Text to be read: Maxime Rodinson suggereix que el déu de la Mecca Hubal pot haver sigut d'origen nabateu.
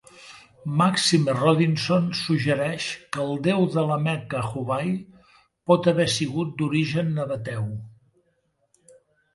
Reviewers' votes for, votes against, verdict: 1, 2, rejected